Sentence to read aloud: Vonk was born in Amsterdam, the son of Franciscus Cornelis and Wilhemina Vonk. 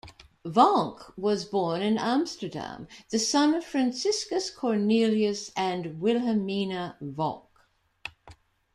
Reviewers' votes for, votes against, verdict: 3, 1, accepted